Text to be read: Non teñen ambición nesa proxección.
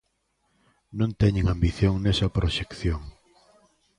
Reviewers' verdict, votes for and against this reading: accepted, 2, 0